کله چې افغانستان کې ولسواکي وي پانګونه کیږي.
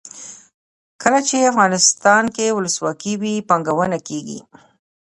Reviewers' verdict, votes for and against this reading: rejected, 0, 2